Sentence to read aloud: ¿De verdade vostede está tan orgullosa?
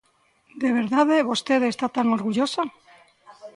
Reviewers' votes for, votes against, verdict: 2, 0, accepted